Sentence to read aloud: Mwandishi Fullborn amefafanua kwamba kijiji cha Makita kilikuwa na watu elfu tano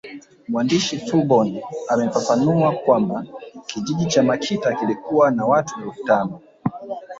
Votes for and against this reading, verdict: 2, 0, accepted